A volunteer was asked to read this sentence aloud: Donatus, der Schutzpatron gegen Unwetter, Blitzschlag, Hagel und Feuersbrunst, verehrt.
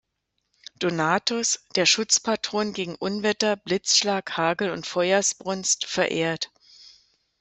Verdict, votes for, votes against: accepted, 2, 0